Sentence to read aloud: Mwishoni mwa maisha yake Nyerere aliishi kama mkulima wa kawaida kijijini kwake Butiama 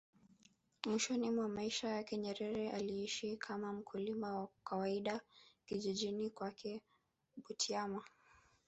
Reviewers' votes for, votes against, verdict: 2, 3, rejected